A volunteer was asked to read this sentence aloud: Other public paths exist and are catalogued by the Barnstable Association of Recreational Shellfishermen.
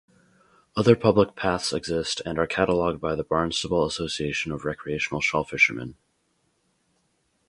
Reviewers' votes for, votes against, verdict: 2, 0, accepted